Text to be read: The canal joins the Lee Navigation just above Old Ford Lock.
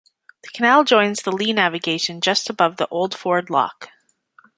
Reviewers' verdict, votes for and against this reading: rejected, 1, 2